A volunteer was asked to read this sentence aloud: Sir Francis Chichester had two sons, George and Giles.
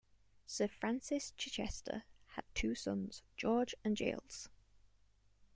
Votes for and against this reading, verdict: 0, 2, rejected